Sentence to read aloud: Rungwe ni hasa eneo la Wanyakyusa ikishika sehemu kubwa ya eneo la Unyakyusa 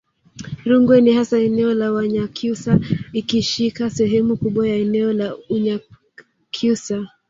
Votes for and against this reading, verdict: 1, 2, rejected